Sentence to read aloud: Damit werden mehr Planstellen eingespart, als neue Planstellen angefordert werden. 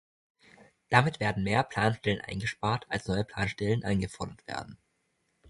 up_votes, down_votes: 0, 2